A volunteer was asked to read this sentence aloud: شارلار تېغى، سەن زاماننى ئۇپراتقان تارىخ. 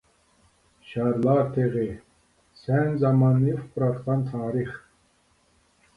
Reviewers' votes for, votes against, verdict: 2, 0, accepted